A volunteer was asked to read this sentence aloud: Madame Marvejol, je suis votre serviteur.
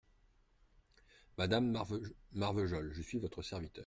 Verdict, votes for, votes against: rejected, 0, 2